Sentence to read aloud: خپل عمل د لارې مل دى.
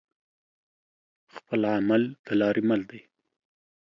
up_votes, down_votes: 2, 0